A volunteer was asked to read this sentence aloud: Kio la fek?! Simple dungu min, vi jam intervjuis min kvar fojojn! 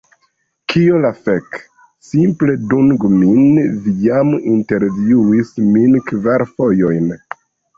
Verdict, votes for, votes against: accepted, 2, 0